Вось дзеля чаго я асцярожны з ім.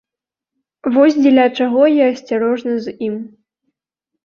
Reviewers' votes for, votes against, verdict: 0, 2, rejected